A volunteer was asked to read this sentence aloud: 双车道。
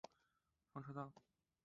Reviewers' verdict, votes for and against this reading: rejected, 0, 2